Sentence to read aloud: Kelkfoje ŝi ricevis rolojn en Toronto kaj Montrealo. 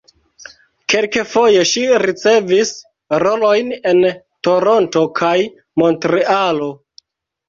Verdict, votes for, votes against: rejected, 0, 2